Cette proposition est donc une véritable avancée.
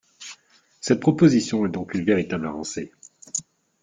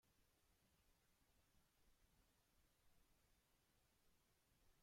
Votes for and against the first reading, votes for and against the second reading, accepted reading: 2, 0, 0, 2, first